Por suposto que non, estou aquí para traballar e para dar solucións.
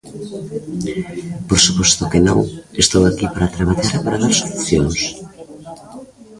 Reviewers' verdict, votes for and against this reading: accepted, 3, 0